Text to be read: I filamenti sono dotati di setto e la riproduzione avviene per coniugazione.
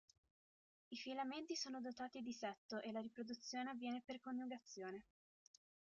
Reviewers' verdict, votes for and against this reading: rejected, 0, 2